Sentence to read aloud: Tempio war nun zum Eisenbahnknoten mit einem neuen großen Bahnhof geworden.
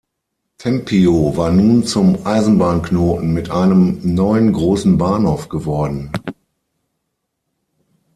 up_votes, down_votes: 6, 0